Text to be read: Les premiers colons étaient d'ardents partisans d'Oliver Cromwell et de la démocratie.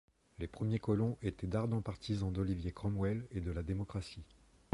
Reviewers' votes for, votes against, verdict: 0, 2, rejected